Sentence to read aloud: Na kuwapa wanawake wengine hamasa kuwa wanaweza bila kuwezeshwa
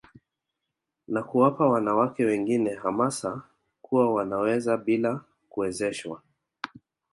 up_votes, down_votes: 1, 2